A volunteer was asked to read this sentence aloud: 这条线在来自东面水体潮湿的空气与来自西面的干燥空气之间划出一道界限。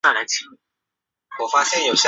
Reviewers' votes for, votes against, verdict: 0, 3, rejected